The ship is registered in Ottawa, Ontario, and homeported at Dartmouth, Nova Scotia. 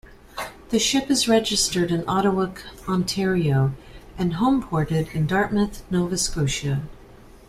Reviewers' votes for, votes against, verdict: 1, 2, rejected